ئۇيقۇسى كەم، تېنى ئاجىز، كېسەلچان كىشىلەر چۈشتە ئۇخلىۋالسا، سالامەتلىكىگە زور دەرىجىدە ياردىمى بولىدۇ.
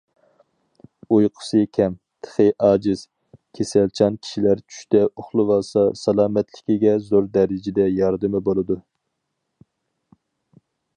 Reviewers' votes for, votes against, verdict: 2, 4, rejected